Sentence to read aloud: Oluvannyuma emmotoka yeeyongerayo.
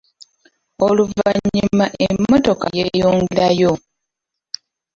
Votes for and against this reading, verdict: 0, 2, rejected